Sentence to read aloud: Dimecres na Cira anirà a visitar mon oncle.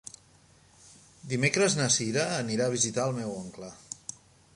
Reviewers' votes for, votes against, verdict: 1, 2, rejected